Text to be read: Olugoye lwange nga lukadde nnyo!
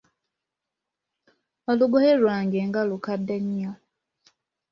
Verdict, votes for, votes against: accepted, 2, 0